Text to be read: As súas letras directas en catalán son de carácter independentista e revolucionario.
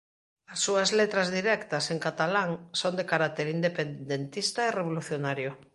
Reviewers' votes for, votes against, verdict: 1, 2, rejected